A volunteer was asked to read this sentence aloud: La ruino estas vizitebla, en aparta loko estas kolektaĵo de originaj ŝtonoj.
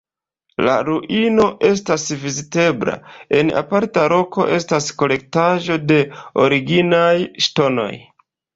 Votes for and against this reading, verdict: 2, 3, rejected